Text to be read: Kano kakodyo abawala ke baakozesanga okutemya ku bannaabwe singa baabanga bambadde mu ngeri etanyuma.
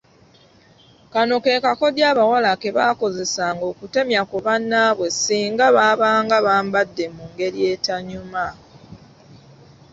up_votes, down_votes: 0, 2